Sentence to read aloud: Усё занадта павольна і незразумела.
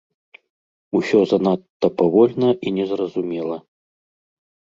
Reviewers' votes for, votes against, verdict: 2, 0, accepted